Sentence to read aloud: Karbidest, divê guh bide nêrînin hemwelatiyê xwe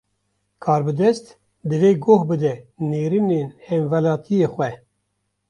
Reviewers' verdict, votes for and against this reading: rejected, 0, 2